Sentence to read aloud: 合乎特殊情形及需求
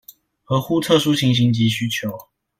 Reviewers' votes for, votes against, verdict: 2, 0, accepted